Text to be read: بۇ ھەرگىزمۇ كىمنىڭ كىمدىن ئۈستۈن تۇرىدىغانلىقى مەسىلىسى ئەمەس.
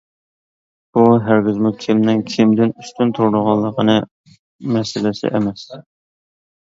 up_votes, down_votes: 0, 2